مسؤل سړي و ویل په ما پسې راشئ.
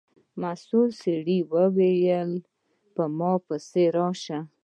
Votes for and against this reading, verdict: 1, 2, rejected